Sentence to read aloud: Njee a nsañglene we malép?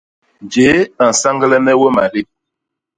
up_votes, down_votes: 0, 2